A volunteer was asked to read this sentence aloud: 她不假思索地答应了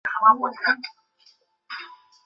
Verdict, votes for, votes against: rejected, 1, 2